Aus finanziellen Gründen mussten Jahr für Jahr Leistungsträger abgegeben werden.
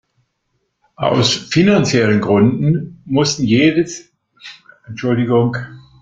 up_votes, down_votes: 0, 2